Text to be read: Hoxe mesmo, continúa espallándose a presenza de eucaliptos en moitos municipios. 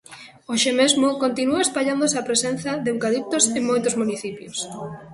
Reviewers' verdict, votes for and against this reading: rejected, 0, 2